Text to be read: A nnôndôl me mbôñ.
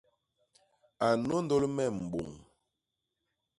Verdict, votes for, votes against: accepted, 2, 0